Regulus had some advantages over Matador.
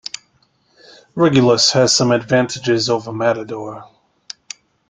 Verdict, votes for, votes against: rejected, 0, 2